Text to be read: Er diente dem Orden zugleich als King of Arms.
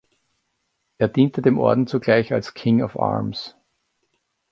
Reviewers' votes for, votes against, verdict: 2, 0, accepted